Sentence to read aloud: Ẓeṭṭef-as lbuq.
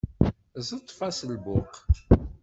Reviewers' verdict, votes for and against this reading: accepted, 2, 0